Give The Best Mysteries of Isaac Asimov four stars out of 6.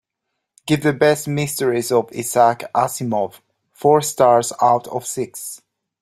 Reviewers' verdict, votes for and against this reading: rejected, 0, 2